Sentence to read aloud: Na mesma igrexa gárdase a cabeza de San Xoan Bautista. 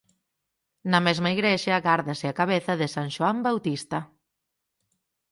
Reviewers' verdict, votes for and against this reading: accepted, 4, 0